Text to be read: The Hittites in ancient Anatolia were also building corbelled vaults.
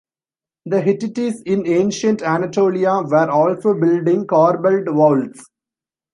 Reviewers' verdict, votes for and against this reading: rejected, 1, 2